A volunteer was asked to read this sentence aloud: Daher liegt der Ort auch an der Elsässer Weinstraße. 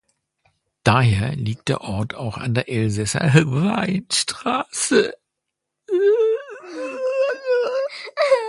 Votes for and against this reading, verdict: 0, 2, rejected